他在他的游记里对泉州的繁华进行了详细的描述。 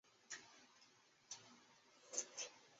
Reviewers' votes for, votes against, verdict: 0, 2, rejected